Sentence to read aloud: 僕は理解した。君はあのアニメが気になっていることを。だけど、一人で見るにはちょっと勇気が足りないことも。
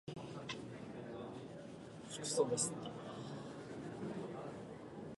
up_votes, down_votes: 0, 2